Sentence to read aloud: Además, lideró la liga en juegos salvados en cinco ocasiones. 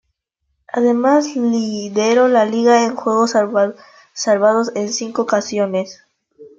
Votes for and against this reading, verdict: 0, 2, rejected